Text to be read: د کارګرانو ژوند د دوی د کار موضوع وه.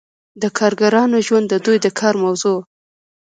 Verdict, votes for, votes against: accepted, 2, 0